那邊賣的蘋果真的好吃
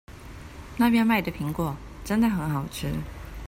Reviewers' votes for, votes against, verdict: 0, 2, rejected